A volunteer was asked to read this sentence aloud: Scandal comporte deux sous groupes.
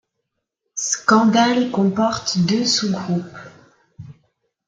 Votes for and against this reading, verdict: 2, 0, accepted